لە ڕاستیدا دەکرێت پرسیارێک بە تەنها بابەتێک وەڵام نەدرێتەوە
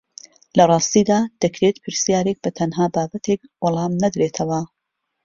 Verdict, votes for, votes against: accepted, 2, 0